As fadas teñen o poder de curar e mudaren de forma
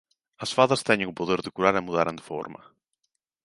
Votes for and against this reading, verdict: 1, 2, rejected